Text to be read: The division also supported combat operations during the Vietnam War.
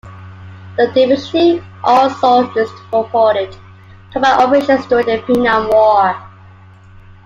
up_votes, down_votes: 0, 2